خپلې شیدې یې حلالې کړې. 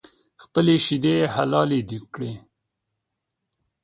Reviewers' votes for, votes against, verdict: 1, 2, rejected